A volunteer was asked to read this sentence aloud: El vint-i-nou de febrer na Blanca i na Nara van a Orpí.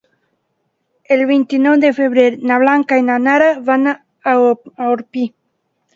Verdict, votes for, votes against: rejected, 0, 2